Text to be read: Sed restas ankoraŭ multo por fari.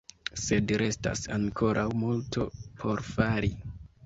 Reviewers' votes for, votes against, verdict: 2, 0, accepted